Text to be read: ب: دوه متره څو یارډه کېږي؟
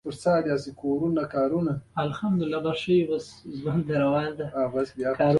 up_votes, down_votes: 1, 2